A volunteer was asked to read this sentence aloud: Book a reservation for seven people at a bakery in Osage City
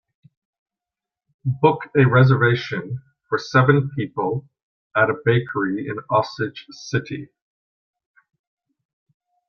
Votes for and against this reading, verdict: 2, 0, accepted